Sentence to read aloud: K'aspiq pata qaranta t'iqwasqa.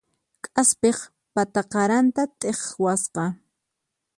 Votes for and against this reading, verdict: 4, 0, accepted